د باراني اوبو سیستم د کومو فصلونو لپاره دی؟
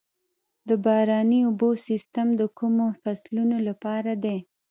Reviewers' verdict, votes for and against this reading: rejected, 1, 2